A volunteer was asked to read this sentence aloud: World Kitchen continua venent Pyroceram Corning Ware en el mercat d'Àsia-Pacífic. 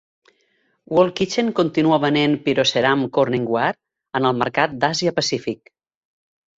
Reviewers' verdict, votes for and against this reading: accepted, 2, 0